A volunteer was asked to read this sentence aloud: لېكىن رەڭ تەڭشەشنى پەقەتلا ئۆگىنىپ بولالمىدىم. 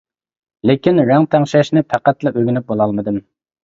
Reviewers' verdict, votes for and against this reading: accepted, 2, 0